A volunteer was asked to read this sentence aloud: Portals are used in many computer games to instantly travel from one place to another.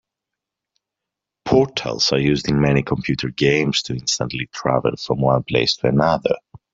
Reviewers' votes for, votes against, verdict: 0, 2, rejected